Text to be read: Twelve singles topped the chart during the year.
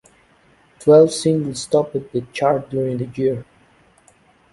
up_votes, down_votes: 0, 2